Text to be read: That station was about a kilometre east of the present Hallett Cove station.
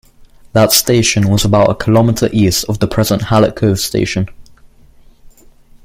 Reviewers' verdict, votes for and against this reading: accepted, 2, 0